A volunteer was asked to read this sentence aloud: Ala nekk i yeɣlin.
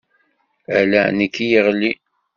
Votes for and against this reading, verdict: 2, 0, accepted